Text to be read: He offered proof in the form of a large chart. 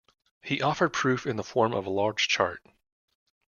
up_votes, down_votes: 2, 0